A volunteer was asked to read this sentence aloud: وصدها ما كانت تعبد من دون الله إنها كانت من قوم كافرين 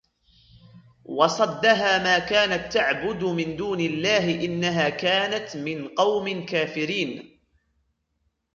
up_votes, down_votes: 1, 2